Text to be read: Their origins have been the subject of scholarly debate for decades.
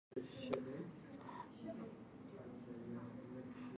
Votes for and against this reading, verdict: 0, 2, rejected